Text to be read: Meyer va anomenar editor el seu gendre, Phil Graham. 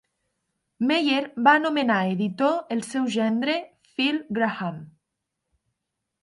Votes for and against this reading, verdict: 5, 0, accepted